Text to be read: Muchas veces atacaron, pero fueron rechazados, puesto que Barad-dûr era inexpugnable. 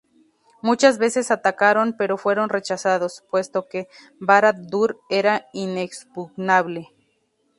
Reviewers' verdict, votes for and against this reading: accepted, 4, 2